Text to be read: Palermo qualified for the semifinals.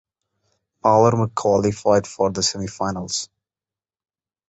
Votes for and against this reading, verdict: 0, 2, rejected